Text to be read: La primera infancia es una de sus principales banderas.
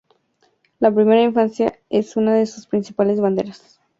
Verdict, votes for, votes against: accepted, 2, 0